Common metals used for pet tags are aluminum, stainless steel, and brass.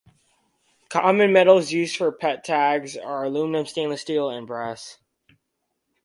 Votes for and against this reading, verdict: 4, 2, accepted